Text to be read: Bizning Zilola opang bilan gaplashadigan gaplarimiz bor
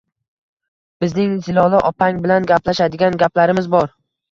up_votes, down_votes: 2, 1